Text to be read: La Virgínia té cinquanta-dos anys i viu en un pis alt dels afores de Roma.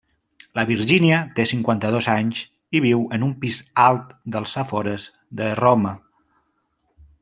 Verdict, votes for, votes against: accepted, 2, 0